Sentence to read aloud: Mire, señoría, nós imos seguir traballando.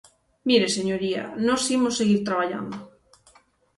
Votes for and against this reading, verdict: 6, 0, accepted